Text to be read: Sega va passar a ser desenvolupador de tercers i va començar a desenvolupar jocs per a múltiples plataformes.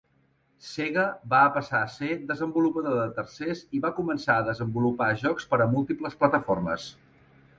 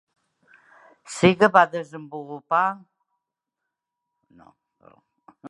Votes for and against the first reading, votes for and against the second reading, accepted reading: 3, 0, 0, 2, first